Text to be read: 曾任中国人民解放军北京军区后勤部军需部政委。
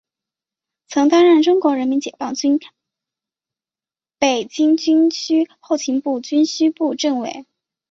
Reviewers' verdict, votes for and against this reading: rejected, 0, 2